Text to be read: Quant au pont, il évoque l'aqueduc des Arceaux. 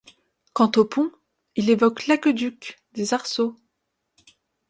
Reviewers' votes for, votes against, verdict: 2, 0, accepted